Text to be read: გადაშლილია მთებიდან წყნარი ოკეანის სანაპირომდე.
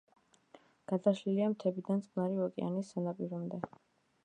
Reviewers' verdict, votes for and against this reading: rejected, 1, 2